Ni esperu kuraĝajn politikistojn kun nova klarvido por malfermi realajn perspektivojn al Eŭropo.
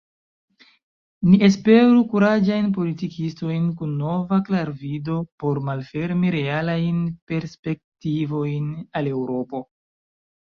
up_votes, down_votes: 2, 1